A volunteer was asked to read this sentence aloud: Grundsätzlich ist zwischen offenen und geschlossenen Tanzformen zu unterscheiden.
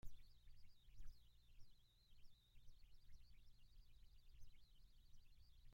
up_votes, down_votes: 1, 2